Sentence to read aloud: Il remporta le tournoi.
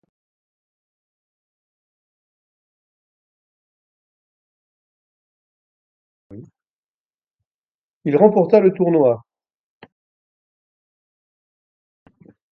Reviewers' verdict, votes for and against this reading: rejected, 1, 2